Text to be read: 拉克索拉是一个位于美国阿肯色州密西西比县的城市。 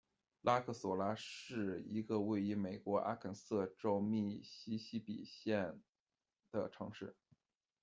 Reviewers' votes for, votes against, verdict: 1, 2, rejected